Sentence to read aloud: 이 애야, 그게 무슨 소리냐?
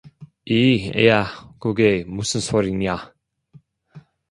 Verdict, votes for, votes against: rejected, 1, 2